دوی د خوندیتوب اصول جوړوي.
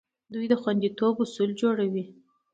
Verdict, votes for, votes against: accepted, 2, 1